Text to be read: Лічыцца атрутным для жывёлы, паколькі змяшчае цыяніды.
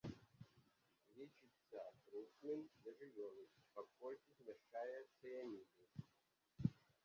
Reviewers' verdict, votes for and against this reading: rejected, 0, 2